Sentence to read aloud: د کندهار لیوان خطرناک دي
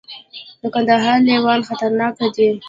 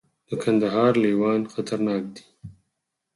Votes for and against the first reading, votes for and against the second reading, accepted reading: 1, 2, 4, 2, second